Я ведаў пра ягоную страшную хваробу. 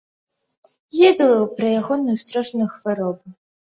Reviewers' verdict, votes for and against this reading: rejected, 1, 3